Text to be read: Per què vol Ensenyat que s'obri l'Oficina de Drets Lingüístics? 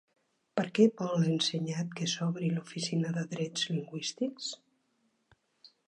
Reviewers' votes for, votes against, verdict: 3, 0, accepted